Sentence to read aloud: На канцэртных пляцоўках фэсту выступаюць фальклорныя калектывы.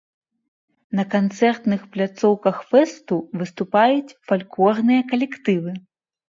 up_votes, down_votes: 1, 2